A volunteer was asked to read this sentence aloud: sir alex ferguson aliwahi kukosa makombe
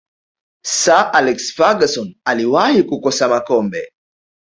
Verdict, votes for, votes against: accepted, 2, 0